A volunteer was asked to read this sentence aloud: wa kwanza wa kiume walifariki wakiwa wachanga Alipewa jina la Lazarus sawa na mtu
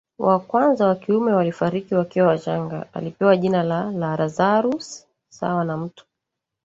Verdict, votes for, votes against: rejected, 1, 2